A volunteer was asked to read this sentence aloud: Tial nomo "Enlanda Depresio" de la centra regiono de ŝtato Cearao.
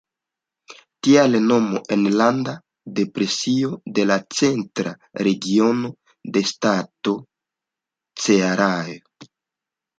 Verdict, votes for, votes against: rejected, 0, 2